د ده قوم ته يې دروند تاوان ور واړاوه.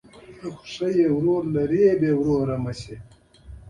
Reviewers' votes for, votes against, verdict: 1, 2, rejected